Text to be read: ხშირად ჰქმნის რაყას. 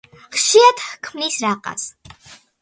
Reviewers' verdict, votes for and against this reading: accepted, 2, 0